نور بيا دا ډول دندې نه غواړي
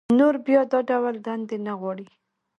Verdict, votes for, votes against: accepted, 2, 1